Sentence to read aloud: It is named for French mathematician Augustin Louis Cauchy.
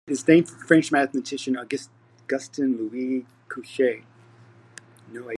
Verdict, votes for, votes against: rejected, 1, 2